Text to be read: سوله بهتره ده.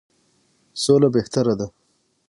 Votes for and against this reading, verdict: 6, 0, accepted